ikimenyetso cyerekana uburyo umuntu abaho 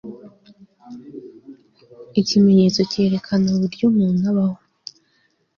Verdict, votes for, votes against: accepted, 2, 0